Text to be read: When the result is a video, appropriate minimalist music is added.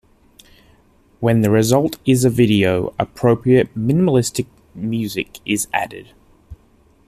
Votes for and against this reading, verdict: 0, 2, rejected